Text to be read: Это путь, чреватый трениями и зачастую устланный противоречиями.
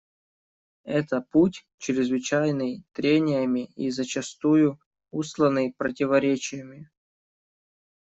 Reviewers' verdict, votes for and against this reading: rejected, 0, 2